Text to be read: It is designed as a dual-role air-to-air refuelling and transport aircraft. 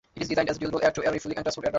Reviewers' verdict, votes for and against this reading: rejected, 0, 2